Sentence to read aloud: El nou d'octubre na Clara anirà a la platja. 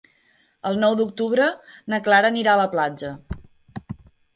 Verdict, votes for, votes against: accepted, 3, 0